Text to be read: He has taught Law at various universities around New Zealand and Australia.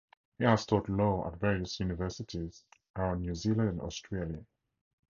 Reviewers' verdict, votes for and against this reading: rejected, 0, 4